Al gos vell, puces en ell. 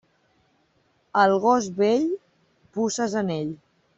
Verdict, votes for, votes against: accepted, 2, 0